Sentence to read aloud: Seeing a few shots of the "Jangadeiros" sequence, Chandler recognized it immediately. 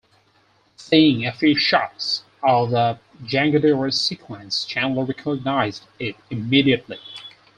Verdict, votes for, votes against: accepted, 4, 0